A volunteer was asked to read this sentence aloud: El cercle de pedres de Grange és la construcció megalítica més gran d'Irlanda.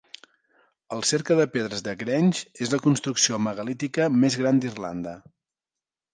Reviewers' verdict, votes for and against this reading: accepted, 2, 0